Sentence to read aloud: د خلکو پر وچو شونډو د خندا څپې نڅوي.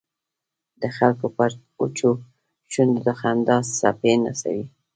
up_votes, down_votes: 2, 0